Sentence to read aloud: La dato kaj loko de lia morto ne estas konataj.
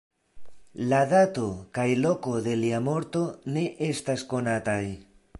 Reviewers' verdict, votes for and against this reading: accepted, 2, 0